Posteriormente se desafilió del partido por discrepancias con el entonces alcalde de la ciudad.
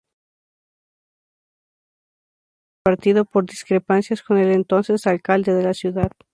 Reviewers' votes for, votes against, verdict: 0, 2, rejected